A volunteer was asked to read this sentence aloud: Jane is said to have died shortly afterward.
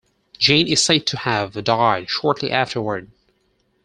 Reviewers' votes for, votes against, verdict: 4, 2, accepted